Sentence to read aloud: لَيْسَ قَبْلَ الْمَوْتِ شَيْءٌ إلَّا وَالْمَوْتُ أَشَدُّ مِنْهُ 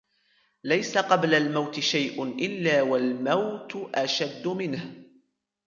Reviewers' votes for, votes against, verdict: 2, 1, accepted